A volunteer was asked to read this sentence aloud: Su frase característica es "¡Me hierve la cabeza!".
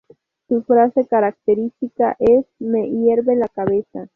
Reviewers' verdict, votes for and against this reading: rejected, 2, 2